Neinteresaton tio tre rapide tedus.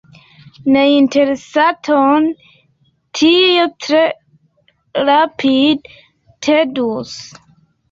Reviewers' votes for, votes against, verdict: 2, 0, accepted